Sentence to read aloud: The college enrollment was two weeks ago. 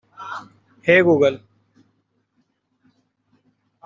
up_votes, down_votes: 0, 2